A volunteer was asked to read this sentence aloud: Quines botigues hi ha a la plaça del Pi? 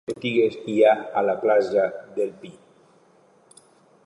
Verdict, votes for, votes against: rejected, 1, 3